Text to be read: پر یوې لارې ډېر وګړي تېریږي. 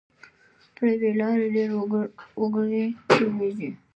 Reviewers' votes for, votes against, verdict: 1, 2, rejected